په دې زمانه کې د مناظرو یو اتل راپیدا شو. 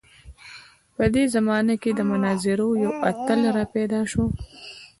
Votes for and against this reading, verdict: 2, 0, accepted